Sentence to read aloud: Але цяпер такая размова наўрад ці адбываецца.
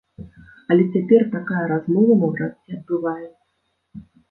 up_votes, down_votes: 1, 2